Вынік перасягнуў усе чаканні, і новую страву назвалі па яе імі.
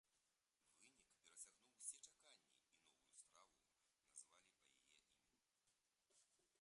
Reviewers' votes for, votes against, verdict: 0, 2, rejected